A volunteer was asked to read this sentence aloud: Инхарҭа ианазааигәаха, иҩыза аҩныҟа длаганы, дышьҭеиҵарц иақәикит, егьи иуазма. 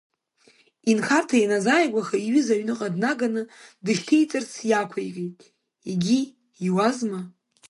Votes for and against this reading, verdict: 1, 2, rejected